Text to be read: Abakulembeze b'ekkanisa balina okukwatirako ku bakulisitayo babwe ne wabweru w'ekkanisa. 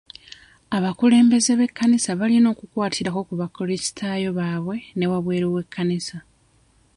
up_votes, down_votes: 2, 0